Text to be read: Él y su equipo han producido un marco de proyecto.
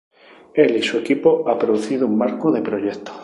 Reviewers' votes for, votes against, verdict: 2, 2, rejected